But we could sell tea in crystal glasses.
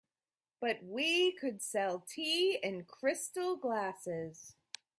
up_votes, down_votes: 2, 0